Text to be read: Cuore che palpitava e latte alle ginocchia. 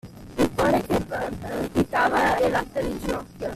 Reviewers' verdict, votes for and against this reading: rejected, 1, 2